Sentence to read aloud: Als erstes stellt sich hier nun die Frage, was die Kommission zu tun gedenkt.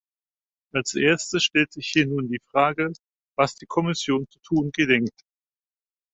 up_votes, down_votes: 4, 0